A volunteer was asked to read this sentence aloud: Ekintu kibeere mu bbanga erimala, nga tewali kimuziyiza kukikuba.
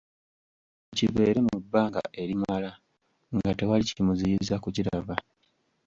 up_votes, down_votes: 0, 3